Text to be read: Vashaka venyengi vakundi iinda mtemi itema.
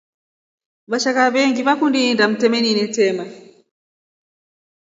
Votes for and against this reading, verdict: 2, 0, accepted